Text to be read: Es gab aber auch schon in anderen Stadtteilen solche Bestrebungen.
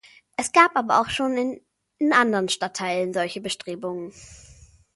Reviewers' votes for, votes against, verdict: 0, 2, rejected